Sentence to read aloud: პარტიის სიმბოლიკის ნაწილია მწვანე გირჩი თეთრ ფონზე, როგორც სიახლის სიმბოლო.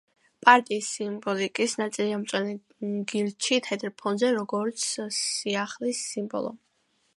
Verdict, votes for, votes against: rejected, 1, 2